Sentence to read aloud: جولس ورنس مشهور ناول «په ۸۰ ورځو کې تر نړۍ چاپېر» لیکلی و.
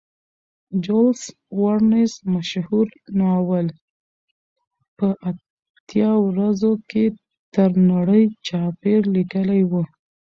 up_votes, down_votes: 0, 2